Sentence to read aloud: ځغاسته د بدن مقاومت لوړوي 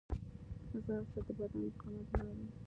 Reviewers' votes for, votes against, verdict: 2, 3, rejected